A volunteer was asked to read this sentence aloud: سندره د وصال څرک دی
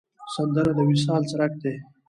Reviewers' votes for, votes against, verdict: 2, 0, accepted